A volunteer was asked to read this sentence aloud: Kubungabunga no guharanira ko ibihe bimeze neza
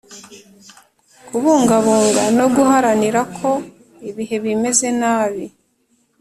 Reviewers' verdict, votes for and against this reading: rejected, 1, 2